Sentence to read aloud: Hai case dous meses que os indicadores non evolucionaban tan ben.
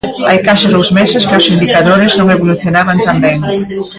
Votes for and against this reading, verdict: 0, 2, rejected